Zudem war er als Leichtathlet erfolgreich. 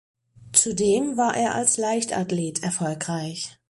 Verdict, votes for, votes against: accepted, 4, 0